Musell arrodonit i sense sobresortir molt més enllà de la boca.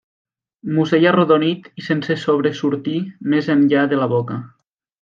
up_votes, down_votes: 0, 2